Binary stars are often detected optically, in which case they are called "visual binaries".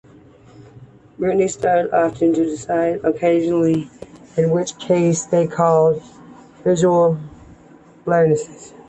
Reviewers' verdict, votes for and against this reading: rejected, 1, 2